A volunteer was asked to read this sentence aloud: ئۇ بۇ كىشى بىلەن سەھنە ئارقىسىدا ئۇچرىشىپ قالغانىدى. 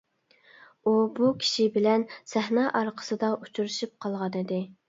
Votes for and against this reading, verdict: 2, 0, accepted